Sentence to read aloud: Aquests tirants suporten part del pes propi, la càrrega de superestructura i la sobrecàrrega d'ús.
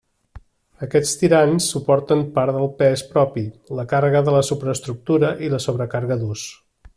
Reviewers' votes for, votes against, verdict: 0, 2, rejected